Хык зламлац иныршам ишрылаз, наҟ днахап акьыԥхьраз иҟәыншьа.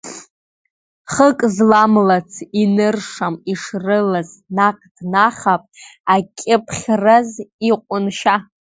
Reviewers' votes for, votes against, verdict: 2, 1, accepted